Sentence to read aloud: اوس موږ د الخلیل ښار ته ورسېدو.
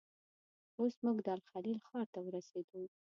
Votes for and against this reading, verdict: 1, 2, rejected